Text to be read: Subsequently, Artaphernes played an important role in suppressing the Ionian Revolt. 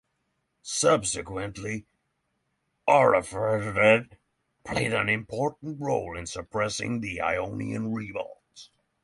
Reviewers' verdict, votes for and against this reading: rejected, 3, 3